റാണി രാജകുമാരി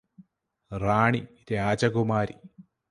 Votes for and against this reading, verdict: 2, 2, rejected